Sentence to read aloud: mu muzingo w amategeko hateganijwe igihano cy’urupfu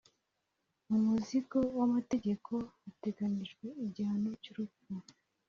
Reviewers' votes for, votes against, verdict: 2, 0, accepted